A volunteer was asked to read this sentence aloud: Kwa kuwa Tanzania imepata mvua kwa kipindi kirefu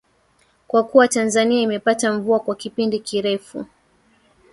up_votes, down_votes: 3, 2